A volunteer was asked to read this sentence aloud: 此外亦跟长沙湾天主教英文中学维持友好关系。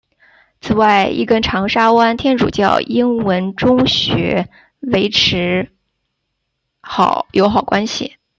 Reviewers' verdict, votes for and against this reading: rejected, 0, 2